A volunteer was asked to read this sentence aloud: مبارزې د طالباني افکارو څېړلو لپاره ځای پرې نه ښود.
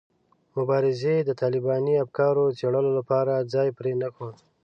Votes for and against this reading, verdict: 2, 0, accepted